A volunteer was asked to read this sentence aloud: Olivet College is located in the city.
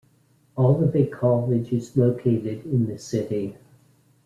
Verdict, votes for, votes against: accepted, 2, 1